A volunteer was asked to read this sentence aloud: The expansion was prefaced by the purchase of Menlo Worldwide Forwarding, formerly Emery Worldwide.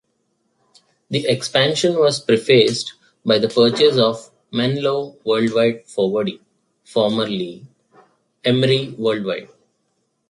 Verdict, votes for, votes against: accepted, 2, 0